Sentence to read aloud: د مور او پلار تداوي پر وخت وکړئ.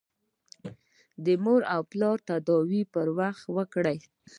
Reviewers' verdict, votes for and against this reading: accepted, 2, 0